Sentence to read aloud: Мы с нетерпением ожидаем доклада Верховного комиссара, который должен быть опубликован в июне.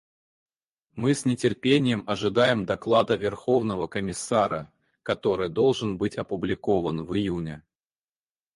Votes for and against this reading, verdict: 2, 2, rejected